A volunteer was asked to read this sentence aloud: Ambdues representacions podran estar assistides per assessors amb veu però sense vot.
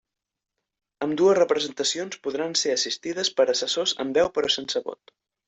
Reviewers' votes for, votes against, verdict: 1, 2, rejected